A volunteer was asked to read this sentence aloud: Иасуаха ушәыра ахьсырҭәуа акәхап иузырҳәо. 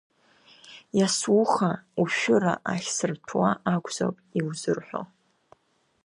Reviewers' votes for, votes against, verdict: 2, 0, accepted